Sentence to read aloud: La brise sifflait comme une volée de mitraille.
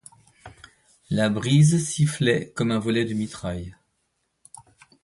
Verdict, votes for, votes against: rejected, 0, 2